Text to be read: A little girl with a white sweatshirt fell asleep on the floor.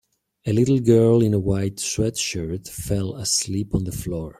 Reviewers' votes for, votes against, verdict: 1, 2, rejected